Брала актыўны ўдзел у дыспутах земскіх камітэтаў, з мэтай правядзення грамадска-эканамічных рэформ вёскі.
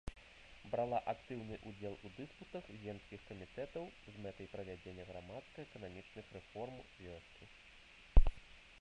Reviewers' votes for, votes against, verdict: 0, 2, rejected